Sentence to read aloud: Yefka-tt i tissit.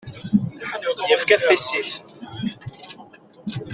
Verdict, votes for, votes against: rejected, 1, 2